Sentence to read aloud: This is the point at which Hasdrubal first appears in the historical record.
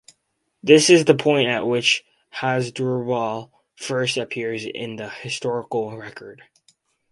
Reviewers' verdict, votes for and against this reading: accepted, 4, 0